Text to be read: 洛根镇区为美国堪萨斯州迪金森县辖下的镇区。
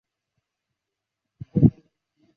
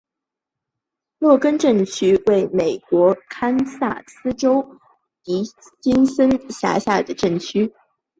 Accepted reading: second